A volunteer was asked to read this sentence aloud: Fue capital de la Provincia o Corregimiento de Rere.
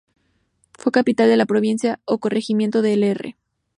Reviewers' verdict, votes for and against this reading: rejected, 0, 2